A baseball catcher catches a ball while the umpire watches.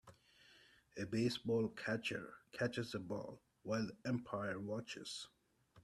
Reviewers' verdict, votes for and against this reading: accepted, 2, 1